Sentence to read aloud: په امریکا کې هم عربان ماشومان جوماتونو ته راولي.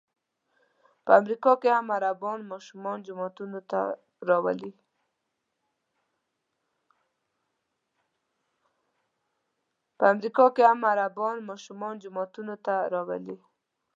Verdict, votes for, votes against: rejected, 0, 2